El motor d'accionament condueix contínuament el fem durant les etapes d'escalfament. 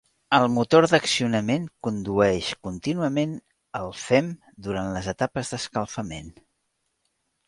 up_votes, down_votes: 3, 0